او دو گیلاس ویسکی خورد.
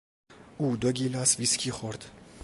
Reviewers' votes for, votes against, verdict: 2, 0, accepted